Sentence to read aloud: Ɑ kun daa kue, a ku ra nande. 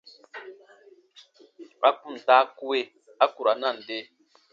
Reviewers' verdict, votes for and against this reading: rejected, 1, 2